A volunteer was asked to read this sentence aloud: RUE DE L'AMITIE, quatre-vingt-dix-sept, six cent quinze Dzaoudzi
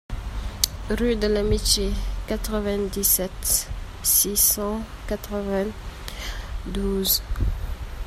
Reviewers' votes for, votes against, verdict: 0, 2, rejected